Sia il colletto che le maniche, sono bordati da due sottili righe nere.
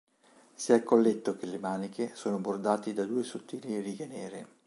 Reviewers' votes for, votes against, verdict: 2, 0, accepted